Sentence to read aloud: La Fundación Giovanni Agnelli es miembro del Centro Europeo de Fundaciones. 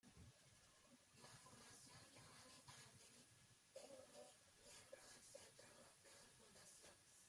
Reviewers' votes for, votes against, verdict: 0, 2, rejected